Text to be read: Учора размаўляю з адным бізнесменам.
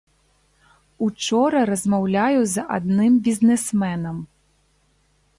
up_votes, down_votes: 0, 2